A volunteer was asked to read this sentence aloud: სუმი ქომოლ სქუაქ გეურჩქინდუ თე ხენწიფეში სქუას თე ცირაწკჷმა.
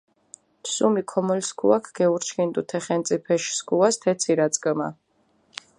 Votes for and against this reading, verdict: 2, 0, accepted